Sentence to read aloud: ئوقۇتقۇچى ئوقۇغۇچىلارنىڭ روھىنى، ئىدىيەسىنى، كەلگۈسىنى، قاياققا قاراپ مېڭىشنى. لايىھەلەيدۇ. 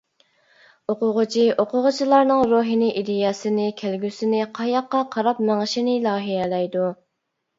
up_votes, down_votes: 0, 2